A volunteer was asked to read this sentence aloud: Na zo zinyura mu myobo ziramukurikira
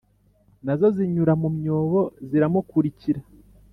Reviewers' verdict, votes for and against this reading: accepted, 2, 1